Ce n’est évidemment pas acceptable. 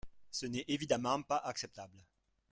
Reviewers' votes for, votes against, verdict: 0, 2, rejected